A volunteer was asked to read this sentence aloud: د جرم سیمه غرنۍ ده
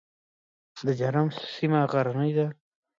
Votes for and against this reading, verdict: 2, 1, accepted